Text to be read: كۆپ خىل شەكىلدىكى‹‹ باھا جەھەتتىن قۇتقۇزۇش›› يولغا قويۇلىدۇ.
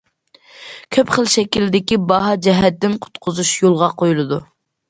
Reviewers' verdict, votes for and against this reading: accepted, 2, 0